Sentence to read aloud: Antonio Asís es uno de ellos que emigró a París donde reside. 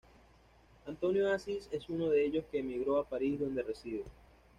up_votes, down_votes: 2, 0